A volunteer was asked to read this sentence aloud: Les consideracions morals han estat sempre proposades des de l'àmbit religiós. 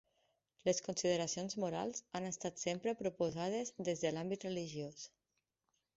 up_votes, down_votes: 4, 0